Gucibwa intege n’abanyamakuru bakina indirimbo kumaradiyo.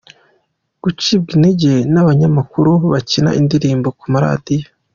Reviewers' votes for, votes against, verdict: 2, 0, accepted